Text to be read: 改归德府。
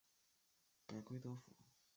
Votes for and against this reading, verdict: 0, 2, rejected